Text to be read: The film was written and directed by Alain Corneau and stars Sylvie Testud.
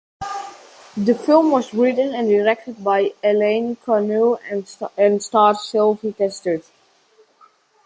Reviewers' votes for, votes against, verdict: 2, 1, accepted